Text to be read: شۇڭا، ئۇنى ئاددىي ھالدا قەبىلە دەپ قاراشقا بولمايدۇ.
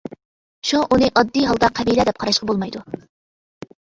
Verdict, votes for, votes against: accepted, 2, 0